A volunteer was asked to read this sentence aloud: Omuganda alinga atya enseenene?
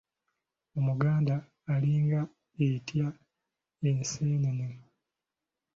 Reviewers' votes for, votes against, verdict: 0, 2, rejected